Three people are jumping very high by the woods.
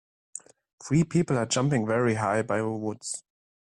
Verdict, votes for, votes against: accepted, 2, 1